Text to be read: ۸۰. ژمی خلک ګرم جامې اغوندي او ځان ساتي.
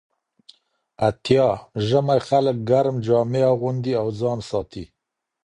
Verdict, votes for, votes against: rejected, 0, 2